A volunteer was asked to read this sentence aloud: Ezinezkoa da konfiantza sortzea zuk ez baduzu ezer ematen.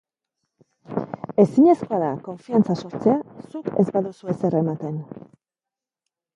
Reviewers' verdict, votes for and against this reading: rejected, 0, 2